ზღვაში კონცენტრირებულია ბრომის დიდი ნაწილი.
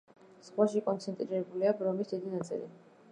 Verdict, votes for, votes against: rejected, 0, 2